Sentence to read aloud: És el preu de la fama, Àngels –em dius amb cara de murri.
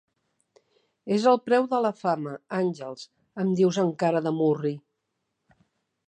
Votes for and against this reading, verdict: 2, 0, accepted